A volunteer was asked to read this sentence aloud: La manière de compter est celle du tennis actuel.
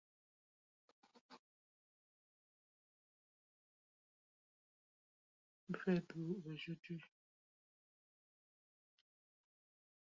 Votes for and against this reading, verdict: 0, 2, rejected